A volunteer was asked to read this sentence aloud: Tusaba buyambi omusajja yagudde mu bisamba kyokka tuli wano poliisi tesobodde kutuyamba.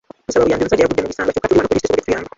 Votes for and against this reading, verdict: 0, 2, rejected